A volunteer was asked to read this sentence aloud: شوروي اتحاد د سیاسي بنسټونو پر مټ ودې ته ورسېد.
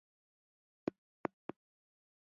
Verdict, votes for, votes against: rejected, 1, 2